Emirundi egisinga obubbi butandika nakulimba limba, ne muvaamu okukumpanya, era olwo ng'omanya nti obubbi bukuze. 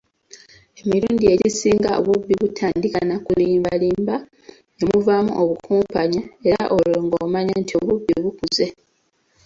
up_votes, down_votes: 2, 1